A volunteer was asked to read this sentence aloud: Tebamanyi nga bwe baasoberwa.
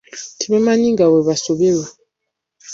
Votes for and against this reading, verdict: 0, 2, rejected